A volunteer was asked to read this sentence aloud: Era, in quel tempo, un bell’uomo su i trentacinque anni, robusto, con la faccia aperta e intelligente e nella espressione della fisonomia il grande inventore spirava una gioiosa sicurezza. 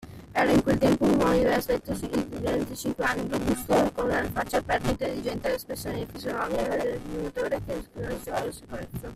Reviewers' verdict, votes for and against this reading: rejected, 0, 2